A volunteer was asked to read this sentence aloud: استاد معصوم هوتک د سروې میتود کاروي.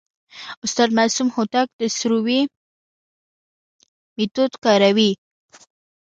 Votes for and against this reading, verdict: 2, 0, accepted